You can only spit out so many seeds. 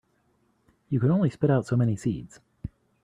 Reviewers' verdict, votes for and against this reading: rejected, 1, 2